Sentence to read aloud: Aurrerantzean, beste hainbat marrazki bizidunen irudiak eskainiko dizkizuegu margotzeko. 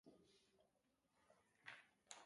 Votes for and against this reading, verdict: 0, 3, rejected